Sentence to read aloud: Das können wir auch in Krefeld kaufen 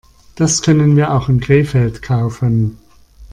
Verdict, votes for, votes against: accepted, 2, 0